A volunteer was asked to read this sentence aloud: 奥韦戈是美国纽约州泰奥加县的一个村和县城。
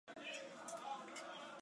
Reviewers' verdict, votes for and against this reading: rejected, 0, 2